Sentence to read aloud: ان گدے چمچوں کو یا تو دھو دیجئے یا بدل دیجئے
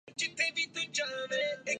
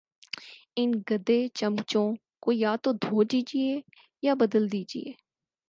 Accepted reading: second